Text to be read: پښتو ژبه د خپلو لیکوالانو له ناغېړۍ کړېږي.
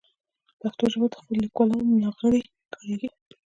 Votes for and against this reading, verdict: 1, 2, rejected